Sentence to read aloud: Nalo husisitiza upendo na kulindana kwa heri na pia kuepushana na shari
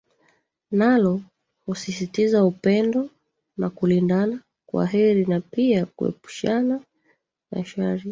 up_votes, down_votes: 0, 2